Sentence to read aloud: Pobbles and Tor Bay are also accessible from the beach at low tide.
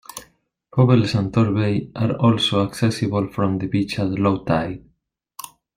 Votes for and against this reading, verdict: 2, 0, accepted